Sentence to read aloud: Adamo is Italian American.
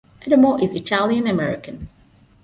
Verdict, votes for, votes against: accepted, 2, 0